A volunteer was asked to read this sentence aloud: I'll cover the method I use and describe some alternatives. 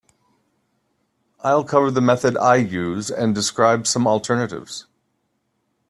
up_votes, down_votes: 3, 0